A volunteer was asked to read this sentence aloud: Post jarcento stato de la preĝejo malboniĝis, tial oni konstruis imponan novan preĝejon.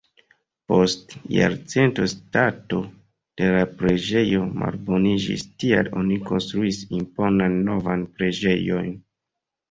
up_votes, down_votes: 1, 2